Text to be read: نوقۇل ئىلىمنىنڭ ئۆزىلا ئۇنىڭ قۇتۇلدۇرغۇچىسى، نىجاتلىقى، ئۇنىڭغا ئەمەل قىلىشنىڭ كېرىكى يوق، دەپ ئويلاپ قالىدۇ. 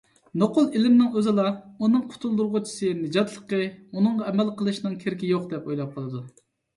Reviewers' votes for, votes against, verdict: 2, 0, accepted